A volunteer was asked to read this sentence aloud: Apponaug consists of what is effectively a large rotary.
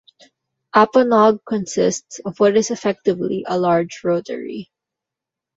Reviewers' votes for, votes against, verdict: 0, 2, rejected